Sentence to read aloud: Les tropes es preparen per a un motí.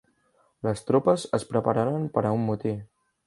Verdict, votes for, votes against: rejected, 0, 2